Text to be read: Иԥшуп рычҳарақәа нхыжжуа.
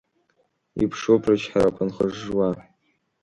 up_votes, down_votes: 0, 2